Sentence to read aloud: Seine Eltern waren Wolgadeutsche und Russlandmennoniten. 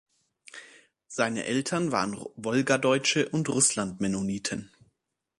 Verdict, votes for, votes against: accepted, 2, 0